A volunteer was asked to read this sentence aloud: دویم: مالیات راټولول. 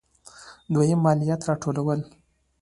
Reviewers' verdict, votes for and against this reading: accepted, 2, 0